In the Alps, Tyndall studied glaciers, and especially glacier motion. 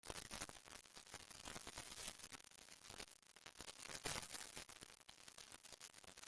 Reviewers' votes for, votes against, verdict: 0, 2, rejected